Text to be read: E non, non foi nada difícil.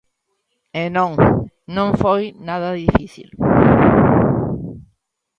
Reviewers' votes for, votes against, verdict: 2, 0, accepted